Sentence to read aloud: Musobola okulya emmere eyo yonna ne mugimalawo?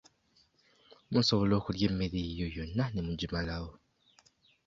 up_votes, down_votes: 1, 2